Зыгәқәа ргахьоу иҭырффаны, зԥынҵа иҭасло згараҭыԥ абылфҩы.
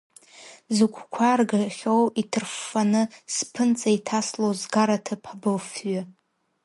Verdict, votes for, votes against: rejected, 0, 2